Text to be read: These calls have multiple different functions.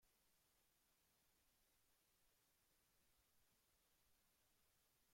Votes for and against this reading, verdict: 0, 2, rejected